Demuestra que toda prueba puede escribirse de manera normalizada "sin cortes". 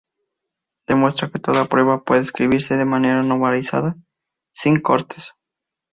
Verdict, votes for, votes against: accepted, 2, 0